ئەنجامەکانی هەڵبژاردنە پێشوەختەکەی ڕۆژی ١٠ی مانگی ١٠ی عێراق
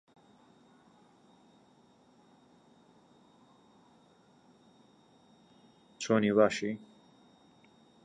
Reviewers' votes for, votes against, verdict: 0, 2, rejected